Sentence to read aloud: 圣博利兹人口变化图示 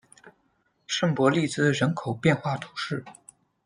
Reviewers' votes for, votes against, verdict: 2, 0, accepted